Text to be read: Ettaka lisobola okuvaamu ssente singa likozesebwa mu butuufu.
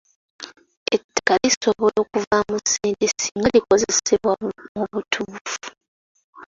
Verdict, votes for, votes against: rejected, 0, 2